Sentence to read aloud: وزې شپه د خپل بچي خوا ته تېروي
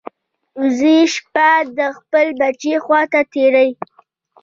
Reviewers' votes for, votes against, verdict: 2, 0, accepted